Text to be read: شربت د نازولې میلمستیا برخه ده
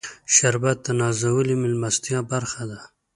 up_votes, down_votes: 2, 0